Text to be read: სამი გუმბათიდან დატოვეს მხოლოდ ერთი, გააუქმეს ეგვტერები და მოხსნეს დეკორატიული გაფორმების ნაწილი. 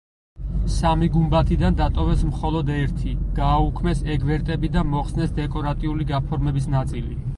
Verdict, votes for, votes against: rejected, 2, 4